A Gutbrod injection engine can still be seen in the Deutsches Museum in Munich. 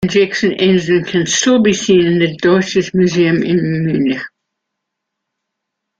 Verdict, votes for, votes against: rejected, 0, 2